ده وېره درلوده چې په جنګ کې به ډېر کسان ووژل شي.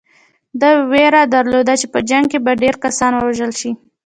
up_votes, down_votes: 2, 0